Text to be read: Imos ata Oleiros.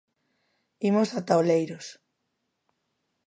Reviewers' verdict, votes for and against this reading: accepted, 2, 0